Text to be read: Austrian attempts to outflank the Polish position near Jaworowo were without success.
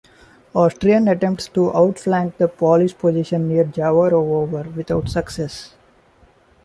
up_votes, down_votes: 1, 2